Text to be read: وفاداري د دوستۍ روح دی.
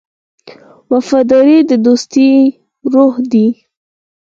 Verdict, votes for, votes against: accepted, 4, 2